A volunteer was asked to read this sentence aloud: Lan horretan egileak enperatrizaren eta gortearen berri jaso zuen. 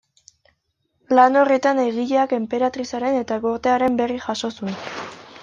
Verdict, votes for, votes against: accepted, 2, 1